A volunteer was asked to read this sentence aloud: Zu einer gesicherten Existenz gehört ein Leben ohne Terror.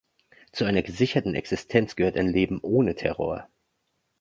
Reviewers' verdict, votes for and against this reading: accepted, 2, 0